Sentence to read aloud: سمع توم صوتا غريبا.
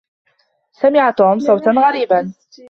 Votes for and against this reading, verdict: 2, 0, accepted